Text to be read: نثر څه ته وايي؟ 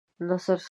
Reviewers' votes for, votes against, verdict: 0, 2, rejected